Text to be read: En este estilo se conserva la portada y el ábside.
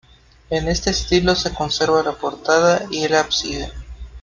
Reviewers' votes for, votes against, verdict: 2, 1, accepted